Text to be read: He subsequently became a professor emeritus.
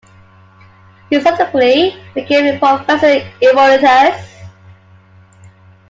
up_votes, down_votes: 0, 2